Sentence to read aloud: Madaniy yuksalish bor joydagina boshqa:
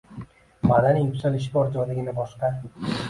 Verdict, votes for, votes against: accepted, 2, 1